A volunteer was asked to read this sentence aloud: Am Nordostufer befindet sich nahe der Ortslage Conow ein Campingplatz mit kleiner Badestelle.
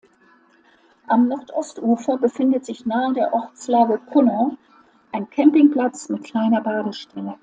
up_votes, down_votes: 2, 0